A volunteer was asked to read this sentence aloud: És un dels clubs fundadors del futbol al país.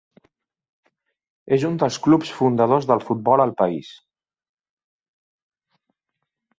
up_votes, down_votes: 4, 0